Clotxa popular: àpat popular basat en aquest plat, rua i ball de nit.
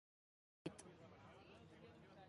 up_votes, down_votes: 0, 3